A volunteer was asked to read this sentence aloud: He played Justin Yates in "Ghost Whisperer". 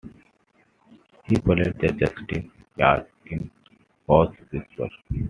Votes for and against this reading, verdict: 0, 2, rejected